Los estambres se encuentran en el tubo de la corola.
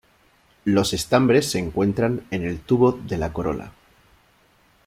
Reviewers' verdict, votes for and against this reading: accepted, 2, 0